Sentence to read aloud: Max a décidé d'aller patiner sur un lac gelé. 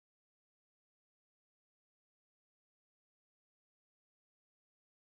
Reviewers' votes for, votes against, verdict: 0, 2, rejected